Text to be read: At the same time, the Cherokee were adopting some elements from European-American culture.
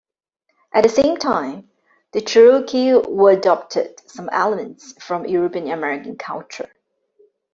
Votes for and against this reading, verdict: 1, 2, rejected